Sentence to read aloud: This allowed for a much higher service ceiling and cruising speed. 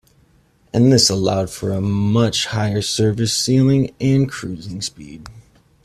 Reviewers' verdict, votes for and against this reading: accepted, 2, 1